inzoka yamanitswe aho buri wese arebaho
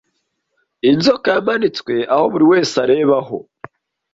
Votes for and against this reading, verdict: 2, 0, accepted